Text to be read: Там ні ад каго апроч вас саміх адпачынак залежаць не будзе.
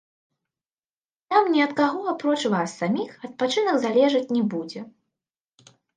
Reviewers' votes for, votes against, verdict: 2, 1, accepted